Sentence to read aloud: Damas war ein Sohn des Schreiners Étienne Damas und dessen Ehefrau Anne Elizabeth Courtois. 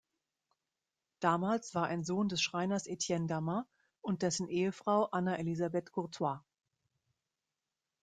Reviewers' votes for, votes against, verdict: 1, 2, rejected